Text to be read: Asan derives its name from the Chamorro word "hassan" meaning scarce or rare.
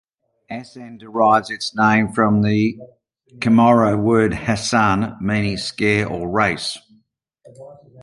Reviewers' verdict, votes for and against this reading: rejected, 0, 2